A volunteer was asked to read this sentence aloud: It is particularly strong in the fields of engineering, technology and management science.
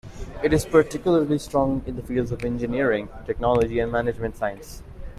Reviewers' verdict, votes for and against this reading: accepted, 2, 0